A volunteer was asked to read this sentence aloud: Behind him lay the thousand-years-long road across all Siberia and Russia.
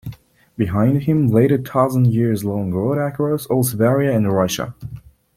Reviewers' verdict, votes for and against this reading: rejected, 0, 2